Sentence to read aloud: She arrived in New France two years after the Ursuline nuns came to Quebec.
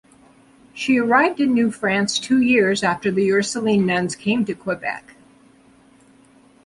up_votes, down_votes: 2, 0